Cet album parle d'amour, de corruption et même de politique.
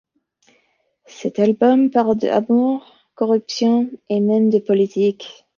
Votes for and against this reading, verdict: 2, 3, rejected